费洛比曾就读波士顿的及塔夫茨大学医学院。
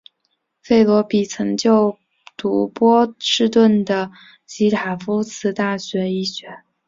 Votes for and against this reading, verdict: 1, 2, rejected